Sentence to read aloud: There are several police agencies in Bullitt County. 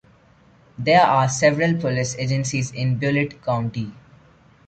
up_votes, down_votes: 0, 2